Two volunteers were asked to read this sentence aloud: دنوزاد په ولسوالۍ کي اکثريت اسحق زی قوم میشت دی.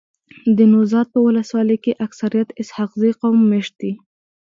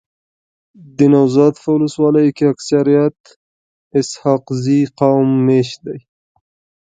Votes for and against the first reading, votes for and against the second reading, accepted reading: 0, 2, 2, 1, second